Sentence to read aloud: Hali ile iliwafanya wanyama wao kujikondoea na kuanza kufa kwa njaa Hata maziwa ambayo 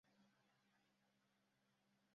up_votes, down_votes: 0, 2